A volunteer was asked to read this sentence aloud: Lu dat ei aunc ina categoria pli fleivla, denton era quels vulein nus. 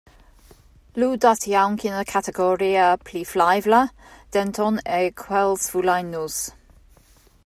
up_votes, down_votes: 0, 2